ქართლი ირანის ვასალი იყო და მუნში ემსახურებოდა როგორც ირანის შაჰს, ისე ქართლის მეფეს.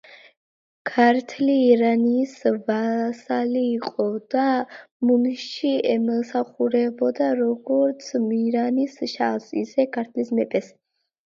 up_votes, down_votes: 2, 1